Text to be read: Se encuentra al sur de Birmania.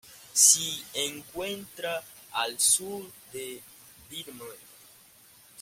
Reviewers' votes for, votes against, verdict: 0, 2, rejected